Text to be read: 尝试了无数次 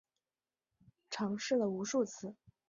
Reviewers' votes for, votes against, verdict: 2, 0, accepted